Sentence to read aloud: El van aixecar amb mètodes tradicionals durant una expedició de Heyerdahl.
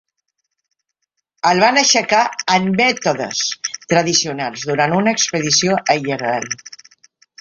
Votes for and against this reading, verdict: 2, 3, rejected